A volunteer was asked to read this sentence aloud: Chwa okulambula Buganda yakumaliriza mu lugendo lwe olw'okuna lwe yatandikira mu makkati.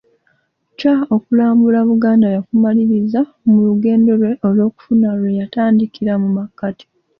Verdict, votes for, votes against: rejected, 1, 2